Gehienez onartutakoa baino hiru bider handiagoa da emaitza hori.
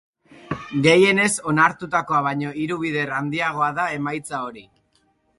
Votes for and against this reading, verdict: 2, 1, accepted